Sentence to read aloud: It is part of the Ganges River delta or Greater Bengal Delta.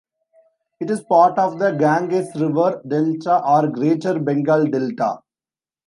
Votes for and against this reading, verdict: 2, 1, accepted